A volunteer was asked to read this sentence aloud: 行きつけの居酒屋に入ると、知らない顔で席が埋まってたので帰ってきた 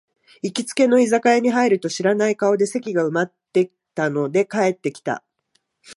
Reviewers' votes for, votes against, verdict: 2, 1, accepted